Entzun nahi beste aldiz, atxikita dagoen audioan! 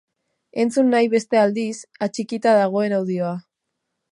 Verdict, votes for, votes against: rejected, 2, 4